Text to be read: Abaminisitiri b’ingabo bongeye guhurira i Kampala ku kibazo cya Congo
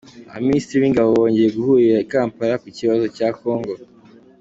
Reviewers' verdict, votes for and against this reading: accepted, 2, 0